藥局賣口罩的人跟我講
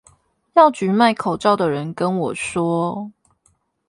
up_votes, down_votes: 0, 8